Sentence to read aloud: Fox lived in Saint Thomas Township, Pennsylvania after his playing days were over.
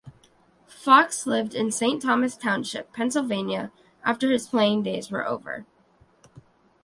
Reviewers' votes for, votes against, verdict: 2, 0, accepted